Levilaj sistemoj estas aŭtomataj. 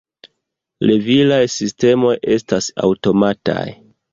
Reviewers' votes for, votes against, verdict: 2, 1, accepted